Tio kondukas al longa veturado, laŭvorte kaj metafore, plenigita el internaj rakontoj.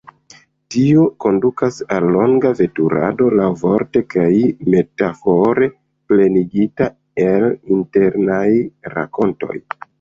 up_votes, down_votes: 2, 1